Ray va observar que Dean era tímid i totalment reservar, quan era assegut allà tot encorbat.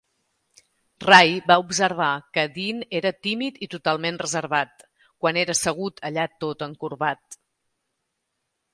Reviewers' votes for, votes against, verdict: 1, 2, rejected